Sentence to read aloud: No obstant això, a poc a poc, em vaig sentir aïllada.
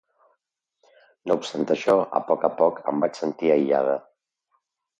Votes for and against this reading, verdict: 2, 0, accepted